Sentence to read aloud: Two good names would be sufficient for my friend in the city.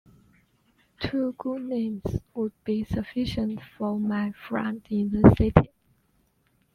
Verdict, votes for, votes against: accepted, 2, 1